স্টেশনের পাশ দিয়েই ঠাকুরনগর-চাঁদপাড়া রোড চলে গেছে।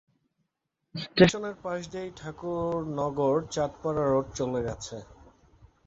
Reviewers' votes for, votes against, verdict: 0, 2, rejected